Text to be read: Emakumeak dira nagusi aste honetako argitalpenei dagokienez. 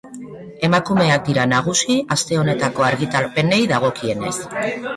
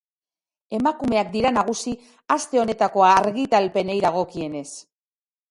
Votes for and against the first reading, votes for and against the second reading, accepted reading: 1, 2, 2, 0, second